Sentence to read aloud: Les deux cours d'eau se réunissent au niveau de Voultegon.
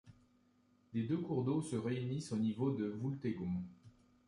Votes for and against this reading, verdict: 2, 0, accepted